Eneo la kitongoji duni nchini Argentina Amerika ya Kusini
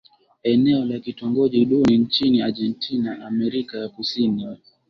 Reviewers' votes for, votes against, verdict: 5, 1, accepted